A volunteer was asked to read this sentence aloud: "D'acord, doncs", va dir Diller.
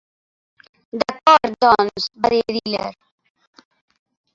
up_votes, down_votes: 0, 2